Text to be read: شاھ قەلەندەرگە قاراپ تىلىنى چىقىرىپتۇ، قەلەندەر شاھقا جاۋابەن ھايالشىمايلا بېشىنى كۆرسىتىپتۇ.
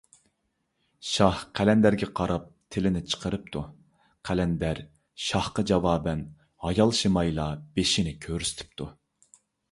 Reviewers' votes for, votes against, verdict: 2, 0, accepted